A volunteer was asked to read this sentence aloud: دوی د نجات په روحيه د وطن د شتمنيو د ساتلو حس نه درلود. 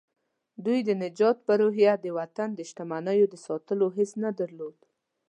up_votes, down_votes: 2, 0